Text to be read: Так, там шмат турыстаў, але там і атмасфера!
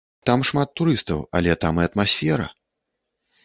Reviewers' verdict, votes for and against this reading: rejected, 1, 2